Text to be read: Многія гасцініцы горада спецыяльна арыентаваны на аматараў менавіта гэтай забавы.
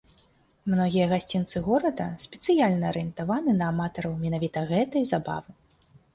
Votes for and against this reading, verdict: 1, 2, rejected